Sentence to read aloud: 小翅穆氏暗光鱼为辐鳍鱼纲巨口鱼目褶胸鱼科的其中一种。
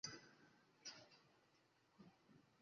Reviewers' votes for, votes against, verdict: 2, 0, accepted